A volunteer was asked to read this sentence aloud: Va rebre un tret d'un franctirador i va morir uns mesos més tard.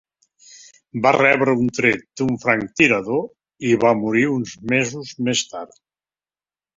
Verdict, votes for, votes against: accepted, 2, 0